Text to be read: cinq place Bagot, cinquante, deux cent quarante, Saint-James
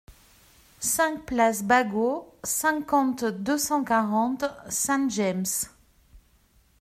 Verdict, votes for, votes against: accepted, 2, 0